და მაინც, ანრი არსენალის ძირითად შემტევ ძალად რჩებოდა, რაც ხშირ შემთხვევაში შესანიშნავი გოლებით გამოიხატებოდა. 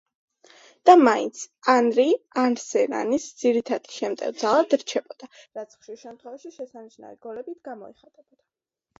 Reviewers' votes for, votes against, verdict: 1, 2, rejected